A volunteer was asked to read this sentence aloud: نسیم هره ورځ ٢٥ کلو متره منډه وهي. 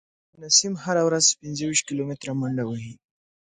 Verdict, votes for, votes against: rejected, 0, 2